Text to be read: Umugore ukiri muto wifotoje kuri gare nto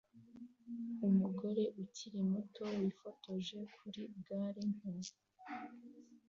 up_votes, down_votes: 2, 0